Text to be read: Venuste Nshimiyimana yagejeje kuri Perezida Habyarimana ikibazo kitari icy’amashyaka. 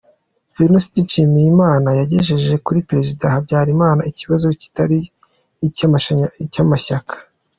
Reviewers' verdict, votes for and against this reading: rejected, 1, 2